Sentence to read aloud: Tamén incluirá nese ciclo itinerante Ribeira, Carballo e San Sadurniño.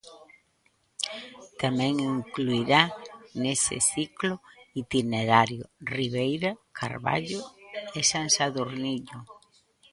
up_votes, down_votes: 0, 2